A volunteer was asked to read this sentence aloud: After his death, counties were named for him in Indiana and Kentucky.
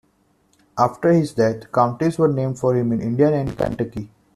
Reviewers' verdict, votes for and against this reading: accepted, 2, 1